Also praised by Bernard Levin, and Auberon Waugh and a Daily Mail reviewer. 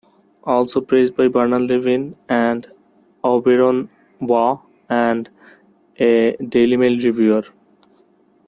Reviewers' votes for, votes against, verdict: 2, 0, accepted